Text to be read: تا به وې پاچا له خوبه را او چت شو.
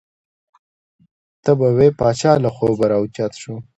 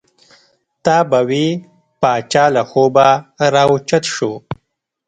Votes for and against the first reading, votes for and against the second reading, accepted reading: 2, 0, 1, 2, first